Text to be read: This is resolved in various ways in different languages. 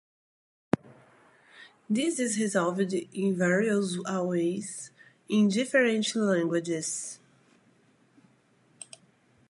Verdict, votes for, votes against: rejected, 0, 2